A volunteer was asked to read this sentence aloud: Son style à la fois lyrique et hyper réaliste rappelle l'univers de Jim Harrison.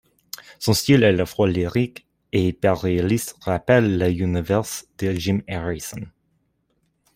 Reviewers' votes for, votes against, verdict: 2, 0, accepted